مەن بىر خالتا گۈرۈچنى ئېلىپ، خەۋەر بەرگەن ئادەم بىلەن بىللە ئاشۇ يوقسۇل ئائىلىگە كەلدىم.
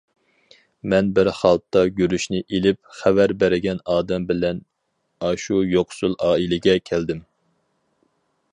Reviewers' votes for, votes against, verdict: 0, 2, rejected